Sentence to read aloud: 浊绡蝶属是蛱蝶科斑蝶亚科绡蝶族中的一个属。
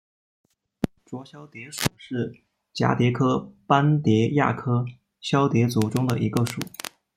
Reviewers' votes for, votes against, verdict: 1, 2, rejected